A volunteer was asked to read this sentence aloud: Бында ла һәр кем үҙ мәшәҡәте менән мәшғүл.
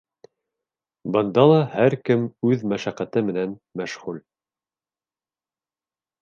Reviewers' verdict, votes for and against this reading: accepted, 2, 0